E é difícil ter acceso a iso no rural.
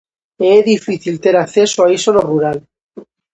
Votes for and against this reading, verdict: 2, 0, accepted